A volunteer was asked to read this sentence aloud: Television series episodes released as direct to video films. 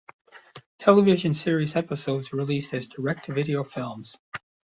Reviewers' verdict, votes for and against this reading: accepted, 2, 0